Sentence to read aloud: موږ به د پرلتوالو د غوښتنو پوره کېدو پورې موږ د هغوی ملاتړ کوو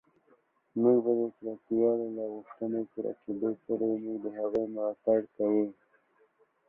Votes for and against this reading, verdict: 1, 2, rejected